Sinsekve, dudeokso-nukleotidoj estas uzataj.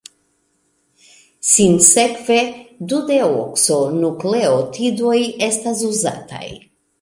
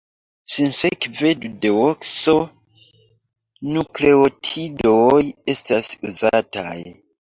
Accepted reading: first